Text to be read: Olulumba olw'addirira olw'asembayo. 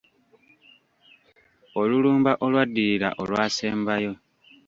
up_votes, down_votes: 1, 2